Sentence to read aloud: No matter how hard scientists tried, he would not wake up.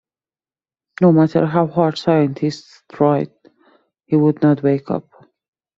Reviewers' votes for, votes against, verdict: 2, 0, accepted